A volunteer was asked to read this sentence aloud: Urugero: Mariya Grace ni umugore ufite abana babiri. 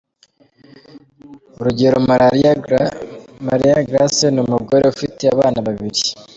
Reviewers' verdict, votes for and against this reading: rejected, 0, 2